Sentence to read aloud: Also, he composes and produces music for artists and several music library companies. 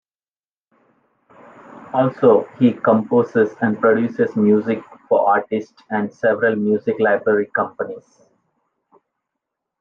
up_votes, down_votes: 2, 0